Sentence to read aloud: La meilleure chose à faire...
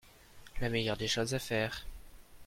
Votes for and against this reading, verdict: 0, 2, rejected